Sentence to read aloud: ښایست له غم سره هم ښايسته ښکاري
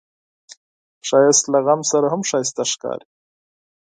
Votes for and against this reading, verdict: 4, 0, accepted